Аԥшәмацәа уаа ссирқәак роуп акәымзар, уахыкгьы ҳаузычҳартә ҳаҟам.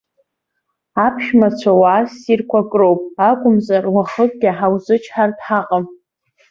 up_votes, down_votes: 2, 0